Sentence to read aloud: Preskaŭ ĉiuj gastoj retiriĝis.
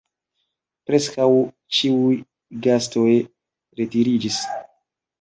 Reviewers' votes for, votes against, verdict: 2, 0, accepted